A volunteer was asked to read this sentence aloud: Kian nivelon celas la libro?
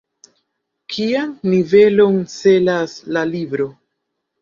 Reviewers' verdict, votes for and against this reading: accepted, 3, 2